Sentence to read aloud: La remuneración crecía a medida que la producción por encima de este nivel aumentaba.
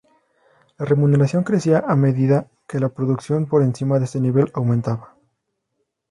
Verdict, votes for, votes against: accepted, 2, 0